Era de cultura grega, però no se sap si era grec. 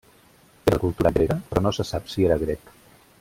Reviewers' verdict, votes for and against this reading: rejected, 0, 2